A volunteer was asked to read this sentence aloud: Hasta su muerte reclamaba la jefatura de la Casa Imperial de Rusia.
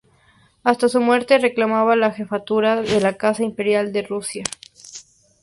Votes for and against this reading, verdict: 2, 0, accepted